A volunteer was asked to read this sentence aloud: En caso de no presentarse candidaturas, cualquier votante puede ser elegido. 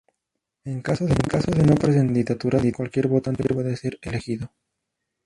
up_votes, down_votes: 0, 2